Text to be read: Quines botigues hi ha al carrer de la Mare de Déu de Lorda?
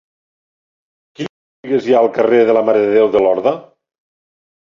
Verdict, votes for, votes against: rejected, 1, 2